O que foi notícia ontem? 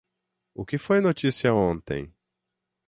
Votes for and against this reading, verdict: 6, 0, accepted